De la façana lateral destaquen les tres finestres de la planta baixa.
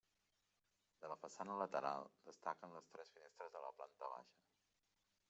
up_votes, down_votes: 1, 2